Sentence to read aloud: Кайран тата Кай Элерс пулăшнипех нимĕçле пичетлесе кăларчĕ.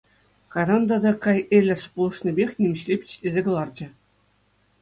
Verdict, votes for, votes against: accepted, 2, 0